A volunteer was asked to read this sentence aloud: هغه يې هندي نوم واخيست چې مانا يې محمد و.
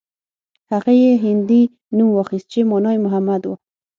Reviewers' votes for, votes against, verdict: 3, 6, rejected